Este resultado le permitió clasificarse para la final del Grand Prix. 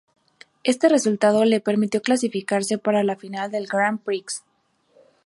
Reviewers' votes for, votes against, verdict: 4, 0, accepted